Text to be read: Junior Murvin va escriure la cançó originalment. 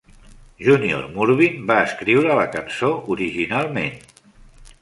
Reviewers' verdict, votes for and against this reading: accepted, 3, 0